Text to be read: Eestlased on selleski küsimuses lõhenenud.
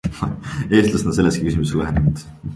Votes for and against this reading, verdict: 1, 2, rejected